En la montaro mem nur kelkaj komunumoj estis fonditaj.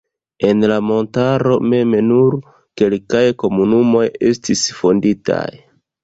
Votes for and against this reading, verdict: 1, 2, rejected